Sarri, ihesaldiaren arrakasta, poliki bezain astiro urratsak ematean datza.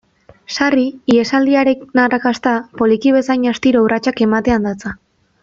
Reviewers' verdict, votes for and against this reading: rejected, 1, 2